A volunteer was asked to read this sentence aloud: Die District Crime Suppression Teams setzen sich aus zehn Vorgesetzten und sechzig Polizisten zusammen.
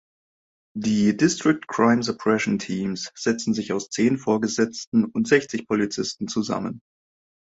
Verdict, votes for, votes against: accepted, 2, 0